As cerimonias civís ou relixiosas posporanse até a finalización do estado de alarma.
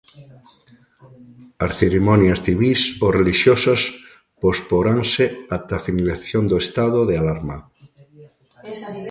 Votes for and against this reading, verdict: 0, 2, rejected